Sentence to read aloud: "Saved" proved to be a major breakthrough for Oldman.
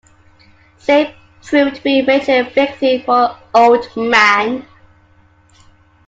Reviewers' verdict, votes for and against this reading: rejected, 0, 2